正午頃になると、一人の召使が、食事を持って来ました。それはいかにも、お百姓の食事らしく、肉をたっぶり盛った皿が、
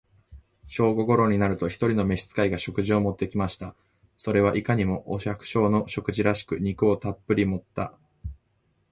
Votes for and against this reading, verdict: 0, 2, rejected